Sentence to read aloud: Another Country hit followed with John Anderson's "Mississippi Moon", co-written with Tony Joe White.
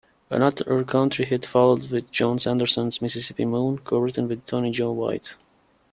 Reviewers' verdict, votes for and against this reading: rejected, 1, 2